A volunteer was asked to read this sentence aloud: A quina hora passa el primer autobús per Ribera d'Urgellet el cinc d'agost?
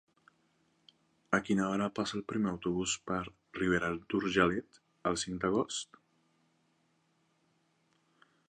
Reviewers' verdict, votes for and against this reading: rejected, 0, 2